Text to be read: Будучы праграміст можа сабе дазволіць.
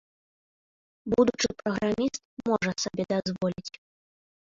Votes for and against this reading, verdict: 0, 2, rejected